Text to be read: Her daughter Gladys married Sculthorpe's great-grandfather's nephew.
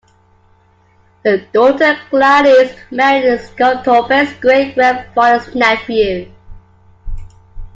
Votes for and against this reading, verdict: 1, 2, rejected